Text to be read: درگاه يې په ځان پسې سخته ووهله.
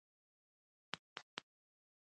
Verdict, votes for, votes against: rejected, 1, 2